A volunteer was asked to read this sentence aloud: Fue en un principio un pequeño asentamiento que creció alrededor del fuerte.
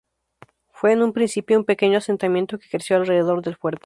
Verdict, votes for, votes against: accepted, 2, 0